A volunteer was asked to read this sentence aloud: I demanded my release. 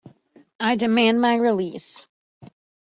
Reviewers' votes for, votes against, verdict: 0, 2, rejected